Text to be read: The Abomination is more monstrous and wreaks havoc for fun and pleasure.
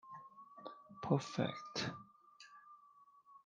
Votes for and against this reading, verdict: 0, 2, rejected